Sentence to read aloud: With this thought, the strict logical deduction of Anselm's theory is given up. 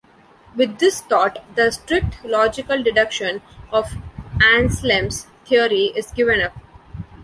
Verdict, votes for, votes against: rejected, 1, 2